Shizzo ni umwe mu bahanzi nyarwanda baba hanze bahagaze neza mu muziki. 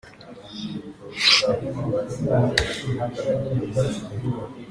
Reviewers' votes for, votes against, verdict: 0, 2, rejected